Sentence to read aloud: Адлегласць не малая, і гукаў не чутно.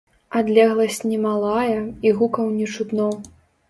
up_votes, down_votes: 2, 0